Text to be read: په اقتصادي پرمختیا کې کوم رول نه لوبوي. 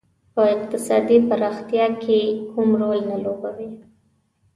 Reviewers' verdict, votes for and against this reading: accepted, 2, 1